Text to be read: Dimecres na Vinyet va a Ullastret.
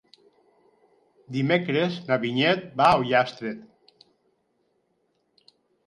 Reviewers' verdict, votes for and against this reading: rejected, 0, 4